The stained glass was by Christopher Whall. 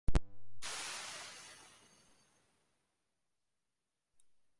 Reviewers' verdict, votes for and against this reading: rejected, 0, 2